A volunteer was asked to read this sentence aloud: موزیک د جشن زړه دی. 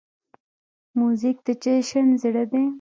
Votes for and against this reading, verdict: 1, 2, rejected